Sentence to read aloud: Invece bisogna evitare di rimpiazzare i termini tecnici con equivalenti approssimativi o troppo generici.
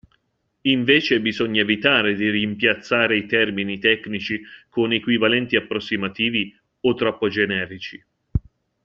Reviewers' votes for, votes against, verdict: 2, 0, accepted